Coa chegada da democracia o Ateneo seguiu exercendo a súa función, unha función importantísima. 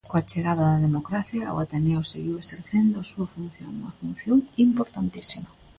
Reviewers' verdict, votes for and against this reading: accepted, 2, 0